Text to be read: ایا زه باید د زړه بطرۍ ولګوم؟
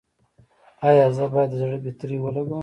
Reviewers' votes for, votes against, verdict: 2, 0, accepted